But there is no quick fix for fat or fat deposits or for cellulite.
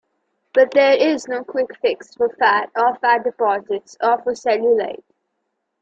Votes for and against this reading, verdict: 2, 0, accepted